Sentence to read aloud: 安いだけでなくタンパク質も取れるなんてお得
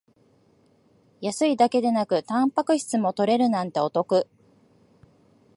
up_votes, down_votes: 2, 0